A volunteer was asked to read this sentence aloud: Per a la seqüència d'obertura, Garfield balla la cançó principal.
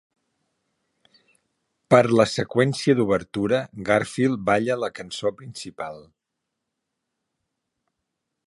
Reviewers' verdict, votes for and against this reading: rejected, 0, 3